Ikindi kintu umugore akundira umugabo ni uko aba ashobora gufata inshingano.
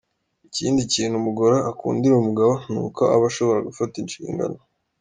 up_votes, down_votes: 2, 0